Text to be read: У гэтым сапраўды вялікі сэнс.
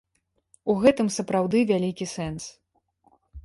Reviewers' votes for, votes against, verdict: 2, 1, accepted